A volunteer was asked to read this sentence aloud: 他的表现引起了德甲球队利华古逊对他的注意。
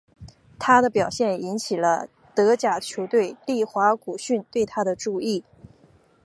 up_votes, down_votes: 3, 0